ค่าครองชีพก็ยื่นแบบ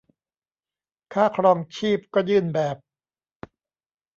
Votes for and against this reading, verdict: 2, 0, accepted